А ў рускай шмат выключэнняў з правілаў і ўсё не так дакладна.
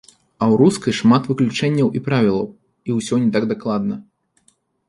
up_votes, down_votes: 0, 2